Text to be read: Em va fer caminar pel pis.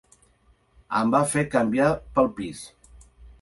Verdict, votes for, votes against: rejected, 1, 2